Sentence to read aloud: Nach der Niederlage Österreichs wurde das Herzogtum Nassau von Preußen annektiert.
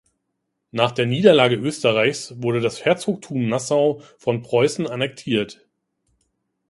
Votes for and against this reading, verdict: 2, 0, accepted